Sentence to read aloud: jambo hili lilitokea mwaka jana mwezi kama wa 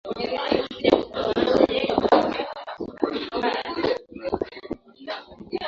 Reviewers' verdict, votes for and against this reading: rejected, 0, 2